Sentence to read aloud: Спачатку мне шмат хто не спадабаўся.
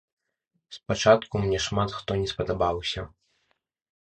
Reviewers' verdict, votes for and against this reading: accepted, 2, 0